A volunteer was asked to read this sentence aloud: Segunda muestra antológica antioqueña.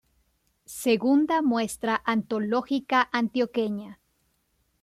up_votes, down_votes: 2, 0